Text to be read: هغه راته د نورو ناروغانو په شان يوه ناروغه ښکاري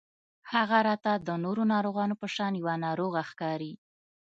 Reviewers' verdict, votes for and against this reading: accepted, 2, 0